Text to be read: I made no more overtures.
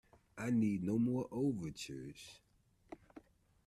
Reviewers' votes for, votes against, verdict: 1, 2, rejected